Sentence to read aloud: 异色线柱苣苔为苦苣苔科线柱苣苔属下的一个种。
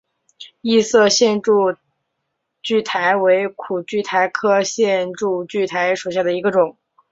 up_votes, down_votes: 0, 2